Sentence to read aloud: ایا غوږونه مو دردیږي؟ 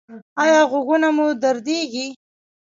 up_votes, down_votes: 0, 2